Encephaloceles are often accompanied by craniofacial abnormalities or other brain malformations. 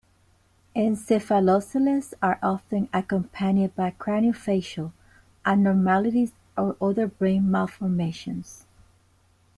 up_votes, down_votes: 2, 0